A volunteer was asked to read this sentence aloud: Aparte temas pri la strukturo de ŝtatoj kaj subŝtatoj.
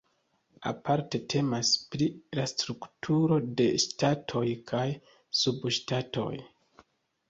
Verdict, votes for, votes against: accepted, 2, 0